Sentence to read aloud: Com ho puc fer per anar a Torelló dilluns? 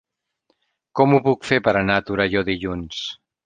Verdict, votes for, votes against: accepted, 3, 1